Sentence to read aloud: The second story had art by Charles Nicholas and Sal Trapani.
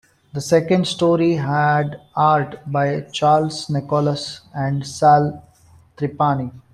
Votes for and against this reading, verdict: 1, 2, rejected